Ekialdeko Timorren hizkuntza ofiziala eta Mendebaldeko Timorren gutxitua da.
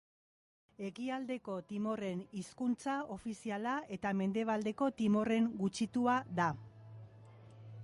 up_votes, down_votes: 3, 0